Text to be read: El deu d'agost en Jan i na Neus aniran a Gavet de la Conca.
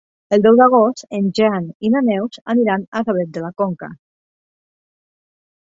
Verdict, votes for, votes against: accepted, 2, 0